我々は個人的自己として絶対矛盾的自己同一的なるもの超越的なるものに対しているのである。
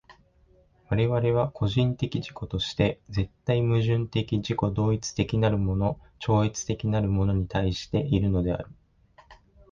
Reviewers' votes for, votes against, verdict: 2, 0, accepted